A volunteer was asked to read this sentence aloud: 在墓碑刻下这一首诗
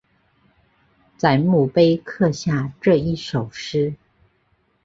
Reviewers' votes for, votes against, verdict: 3, 0, accepted